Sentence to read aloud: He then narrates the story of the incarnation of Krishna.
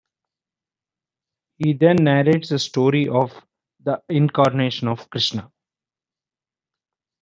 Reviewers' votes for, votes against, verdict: 0, 2, rejected